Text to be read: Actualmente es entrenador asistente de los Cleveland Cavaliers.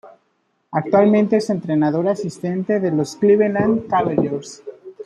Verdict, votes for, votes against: accepted, 2, 0